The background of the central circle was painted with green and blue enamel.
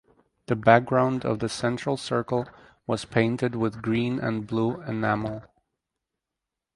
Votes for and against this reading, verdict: 6, 0, accepted